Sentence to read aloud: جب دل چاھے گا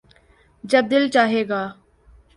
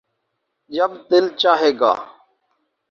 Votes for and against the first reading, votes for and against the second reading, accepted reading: 6, 0, 2, 2, first